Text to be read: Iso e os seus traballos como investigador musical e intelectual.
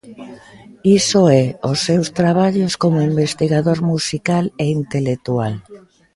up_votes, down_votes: 3, 0